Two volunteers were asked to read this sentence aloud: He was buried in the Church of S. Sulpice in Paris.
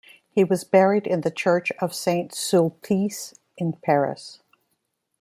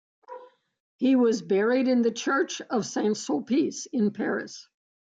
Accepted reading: second